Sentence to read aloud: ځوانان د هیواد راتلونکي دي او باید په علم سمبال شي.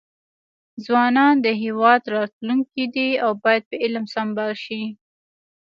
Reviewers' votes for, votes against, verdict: 2, 0, accepted